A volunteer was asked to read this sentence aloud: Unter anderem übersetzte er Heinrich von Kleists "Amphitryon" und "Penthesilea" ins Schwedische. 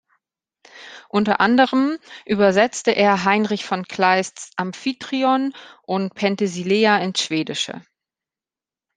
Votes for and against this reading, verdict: 2, 0, accepted